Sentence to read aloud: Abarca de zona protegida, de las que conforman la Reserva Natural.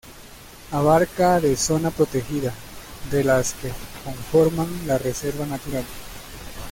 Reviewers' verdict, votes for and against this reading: accepted, 2, 0